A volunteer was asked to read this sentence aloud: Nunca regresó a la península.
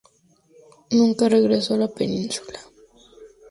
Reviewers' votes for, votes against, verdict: 2, 0, accepted